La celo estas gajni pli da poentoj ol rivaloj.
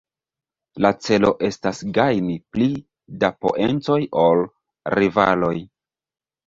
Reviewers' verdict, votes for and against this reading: rejected, 0, 2